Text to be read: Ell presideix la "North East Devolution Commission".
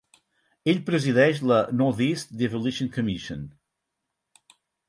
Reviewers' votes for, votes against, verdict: 4, 2, accepted